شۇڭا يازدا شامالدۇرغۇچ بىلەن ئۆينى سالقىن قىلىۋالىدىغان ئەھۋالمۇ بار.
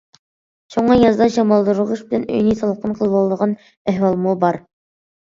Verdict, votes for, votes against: accepted, 2, 0